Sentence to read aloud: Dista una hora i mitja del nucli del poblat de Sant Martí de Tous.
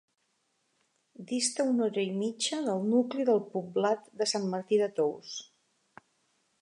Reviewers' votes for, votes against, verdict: 6, 0, accepted